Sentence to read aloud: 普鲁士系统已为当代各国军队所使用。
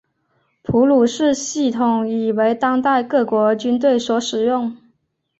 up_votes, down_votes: 5, 1